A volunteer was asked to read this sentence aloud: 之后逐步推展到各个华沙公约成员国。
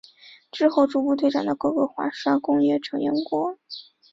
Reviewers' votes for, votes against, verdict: 6, 2, accepted